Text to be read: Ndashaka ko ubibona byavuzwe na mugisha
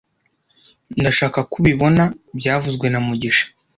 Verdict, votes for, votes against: rejected, 0, 2